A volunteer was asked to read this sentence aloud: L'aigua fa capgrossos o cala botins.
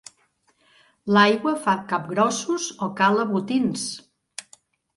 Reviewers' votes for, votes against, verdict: 2, 0, accepted